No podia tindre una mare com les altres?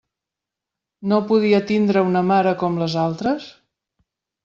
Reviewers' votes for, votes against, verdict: 3, 0, accepted